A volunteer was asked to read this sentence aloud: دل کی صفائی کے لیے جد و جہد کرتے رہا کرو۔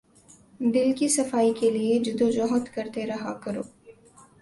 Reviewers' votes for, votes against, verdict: 2, 0, accepted